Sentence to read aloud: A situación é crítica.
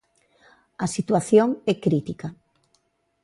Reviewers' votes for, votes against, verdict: 2, 0, accepted